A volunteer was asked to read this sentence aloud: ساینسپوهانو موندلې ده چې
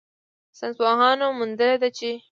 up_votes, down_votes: 2, 0